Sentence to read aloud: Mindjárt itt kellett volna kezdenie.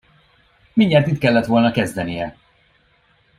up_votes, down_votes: 2, 0